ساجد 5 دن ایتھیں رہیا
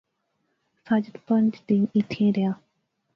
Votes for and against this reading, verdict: 0, 2, rejected